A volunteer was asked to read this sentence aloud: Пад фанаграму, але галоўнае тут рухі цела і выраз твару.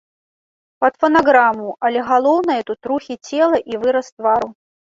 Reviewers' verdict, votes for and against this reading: rejected, 1, 2